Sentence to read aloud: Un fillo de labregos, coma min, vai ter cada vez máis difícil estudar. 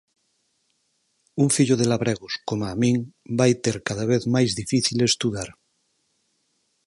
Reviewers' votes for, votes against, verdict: 4, 0, accepted